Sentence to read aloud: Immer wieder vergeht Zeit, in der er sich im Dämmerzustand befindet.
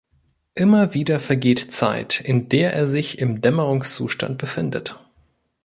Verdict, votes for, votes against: rejected, 0, 2